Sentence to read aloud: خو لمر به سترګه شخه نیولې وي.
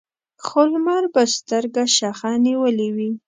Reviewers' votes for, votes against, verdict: 2, 0, accepted